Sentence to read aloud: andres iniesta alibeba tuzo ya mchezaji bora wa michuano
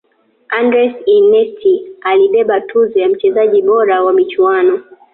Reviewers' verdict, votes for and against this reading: rejected, 1, 2